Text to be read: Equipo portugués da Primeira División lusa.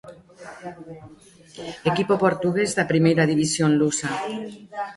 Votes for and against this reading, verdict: 1, 2, rejected